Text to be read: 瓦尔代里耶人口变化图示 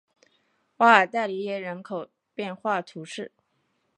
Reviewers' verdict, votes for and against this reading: accepted, 2, 1